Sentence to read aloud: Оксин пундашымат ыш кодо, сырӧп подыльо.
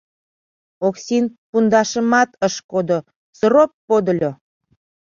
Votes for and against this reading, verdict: 1, 2, rejected